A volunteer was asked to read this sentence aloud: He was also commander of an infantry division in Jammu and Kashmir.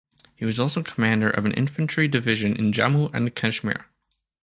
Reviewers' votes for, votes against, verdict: 2, 0, accepted